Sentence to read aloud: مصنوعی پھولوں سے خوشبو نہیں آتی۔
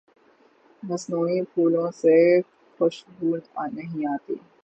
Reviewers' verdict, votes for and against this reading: rejected, 3, 3